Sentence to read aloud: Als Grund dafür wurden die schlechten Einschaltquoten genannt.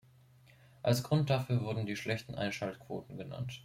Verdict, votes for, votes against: accepted, 2, 0